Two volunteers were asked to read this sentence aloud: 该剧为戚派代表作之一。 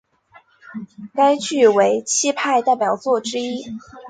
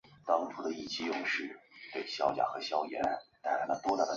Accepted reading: first